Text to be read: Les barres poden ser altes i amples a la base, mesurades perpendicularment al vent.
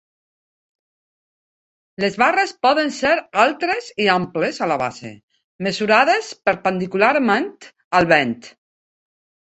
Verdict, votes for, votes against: rejected, 0, 3